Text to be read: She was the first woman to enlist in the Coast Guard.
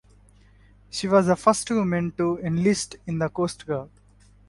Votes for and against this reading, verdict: 4, 0, accepted